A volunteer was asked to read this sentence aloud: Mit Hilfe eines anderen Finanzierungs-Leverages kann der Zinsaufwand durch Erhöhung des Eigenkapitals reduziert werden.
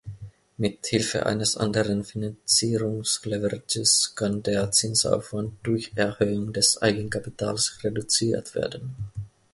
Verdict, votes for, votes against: accepted, 2, 0